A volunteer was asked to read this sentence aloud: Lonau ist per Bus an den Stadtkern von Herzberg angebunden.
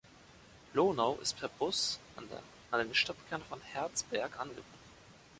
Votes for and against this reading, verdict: 1, 2, rejected